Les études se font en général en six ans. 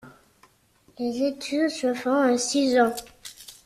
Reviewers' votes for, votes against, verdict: 0, 2, rejected